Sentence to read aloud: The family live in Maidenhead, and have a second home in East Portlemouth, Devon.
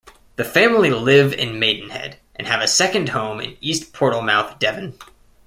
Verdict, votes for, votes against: accepted, 2, 0